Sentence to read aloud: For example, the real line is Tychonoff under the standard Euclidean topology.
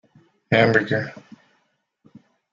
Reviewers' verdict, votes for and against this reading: rejected, 0, 2